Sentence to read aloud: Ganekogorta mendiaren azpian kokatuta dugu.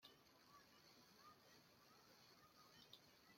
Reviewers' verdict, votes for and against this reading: rejected, 0, 2